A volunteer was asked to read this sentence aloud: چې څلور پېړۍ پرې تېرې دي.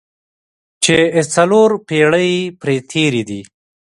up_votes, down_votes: 2, 0